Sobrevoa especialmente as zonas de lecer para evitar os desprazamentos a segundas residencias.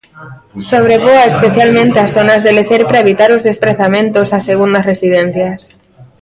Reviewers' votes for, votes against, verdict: 0, 2, rejected